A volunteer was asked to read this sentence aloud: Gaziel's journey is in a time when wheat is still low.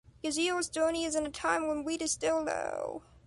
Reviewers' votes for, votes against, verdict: 2, 0, accepted